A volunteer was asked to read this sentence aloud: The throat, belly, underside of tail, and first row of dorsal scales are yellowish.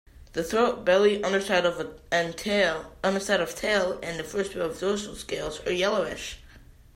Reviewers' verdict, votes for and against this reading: rejected, 1, 2